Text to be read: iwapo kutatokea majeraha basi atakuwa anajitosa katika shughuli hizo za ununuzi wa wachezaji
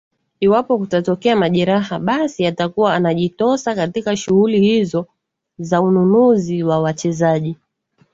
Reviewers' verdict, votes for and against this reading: accepted, 10, 0